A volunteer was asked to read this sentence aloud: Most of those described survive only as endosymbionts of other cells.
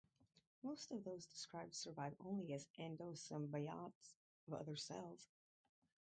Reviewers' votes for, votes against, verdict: 2, 2, rejected